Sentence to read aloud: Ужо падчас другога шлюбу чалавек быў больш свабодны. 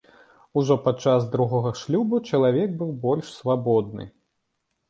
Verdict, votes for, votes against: accepted, 3, 0